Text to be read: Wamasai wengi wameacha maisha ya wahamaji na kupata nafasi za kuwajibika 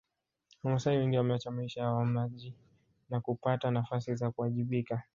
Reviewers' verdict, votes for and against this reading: rejected, 1, 2